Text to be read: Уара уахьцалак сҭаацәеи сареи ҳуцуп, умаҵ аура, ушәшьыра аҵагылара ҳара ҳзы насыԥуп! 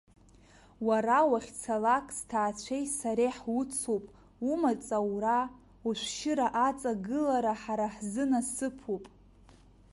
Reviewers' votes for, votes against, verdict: 2, 1, accepted